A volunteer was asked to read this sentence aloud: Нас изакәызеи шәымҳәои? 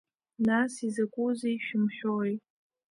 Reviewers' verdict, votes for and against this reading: accepted, 2, 1